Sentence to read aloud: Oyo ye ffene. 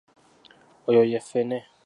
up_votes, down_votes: 2, 0